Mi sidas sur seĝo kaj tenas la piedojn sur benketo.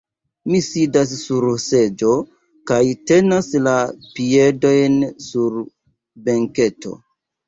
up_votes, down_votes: 1, 2